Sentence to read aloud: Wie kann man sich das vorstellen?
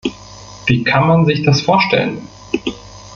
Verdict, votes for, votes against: rejected, 1, 2